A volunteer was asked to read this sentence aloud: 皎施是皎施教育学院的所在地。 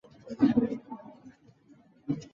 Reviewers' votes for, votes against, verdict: 1, 2, rejected